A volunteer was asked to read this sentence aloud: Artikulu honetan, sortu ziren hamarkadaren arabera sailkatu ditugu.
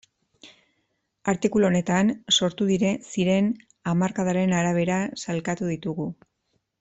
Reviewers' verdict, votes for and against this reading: rejected, 0, 2